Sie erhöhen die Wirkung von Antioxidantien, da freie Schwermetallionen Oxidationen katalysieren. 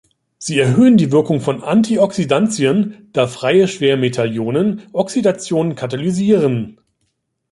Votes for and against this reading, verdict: 2, 0, accepted